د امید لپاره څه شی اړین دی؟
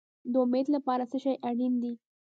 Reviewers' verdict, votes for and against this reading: rejected, 0, 2